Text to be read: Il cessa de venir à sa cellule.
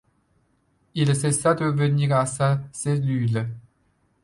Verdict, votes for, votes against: accepted, 2, 0